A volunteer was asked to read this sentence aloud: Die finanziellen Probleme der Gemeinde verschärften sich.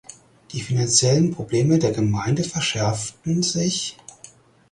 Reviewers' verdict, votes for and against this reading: accepted, 4, 2